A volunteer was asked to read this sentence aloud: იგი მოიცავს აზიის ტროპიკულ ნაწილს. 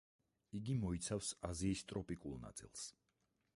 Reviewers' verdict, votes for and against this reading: rejected, 2, 4